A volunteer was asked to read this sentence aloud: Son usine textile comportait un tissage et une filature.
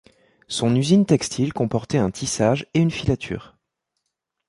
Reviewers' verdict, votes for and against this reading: accepted, 2, 1